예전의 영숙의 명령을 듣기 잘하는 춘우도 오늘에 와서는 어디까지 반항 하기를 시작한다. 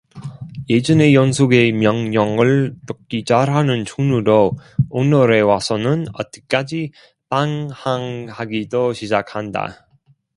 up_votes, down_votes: 1, 2